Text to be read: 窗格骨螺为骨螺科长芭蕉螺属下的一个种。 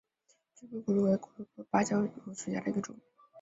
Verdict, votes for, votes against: accepted, 2, 1